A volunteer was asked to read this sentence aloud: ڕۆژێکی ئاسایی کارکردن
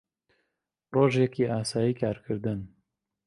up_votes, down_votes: 2, 0